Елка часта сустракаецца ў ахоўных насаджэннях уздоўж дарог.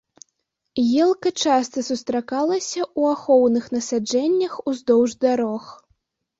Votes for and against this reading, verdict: 0, 3, rejected